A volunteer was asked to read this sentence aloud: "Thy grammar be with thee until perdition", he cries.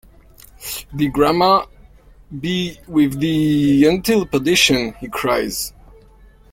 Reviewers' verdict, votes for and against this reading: rejected, 0, 2